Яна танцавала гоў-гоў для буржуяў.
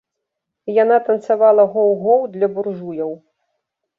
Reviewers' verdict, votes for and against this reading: accepted, 2, 0